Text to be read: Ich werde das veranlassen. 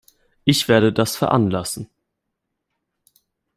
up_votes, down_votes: 2, 0